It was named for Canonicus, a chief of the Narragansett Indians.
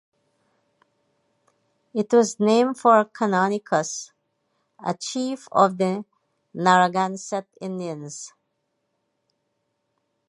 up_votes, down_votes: 2, 0